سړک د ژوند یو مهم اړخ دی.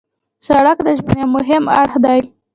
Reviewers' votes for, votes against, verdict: 1, 2, rejected